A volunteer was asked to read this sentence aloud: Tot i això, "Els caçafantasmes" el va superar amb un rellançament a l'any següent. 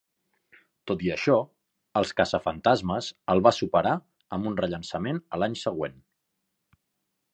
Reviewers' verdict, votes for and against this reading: accepted, 4, 0